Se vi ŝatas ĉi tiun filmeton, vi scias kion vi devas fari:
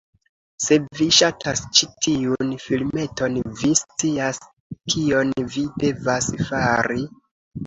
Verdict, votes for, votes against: accepted, 2, 1